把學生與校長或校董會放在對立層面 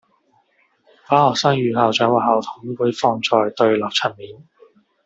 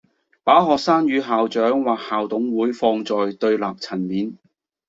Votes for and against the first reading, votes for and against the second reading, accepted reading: 1, 2, 2, 0, second